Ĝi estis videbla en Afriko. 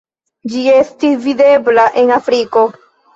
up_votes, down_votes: 2, 0